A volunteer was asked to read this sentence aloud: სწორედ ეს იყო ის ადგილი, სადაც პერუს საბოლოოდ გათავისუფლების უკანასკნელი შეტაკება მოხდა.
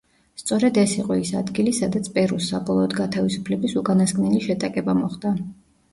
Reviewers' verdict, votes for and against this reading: rejected, 1, 2